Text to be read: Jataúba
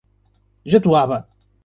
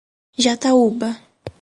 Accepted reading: second